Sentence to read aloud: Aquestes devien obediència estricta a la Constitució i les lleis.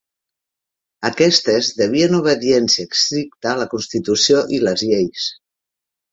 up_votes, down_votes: 2, 1